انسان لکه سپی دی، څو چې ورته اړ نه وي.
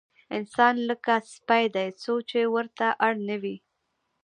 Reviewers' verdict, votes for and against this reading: rejected, 0, 2